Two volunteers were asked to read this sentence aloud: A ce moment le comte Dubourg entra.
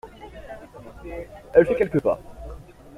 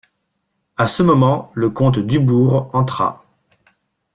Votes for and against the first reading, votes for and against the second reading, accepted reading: 0, 2, 2, 0, second